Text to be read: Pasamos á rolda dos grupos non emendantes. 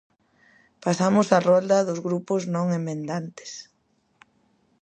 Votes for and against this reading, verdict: 2, 0, accepted